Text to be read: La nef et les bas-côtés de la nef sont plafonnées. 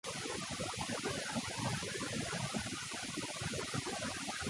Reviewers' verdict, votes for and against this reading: rejected, 0, 2